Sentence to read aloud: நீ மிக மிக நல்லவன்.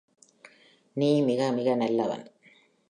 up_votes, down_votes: 3, 0